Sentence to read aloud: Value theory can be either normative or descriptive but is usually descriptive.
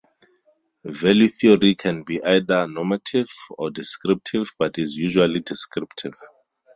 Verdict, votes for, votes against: accepted, 4, 0